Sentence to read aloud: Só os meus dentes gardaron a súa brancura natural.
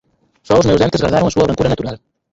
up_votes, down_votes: 0, 4